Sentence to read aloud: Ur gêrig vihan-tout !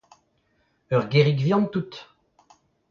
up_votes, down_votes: 0, 2